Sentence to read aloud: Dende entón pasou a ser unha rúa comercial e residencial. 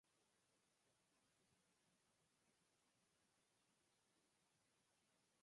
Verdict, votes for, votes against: rejected, 0, 6